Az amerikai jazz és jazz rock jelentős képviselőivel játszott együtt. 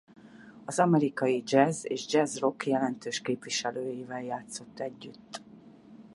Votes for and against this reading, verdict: 2, 4, rejected